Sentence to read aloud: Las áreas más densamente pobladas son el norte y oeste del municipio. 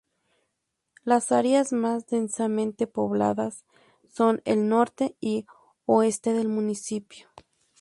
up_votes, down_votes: 4, 0